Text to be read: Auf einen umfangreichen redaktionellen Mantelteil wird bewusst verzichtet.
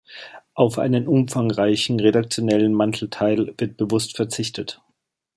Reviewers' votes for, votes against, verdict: 2, 0, accepted